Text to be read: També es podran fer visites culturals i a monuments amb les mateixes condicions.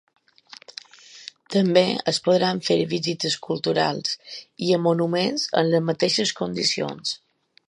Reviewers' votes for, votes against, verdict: 3, 0, accepted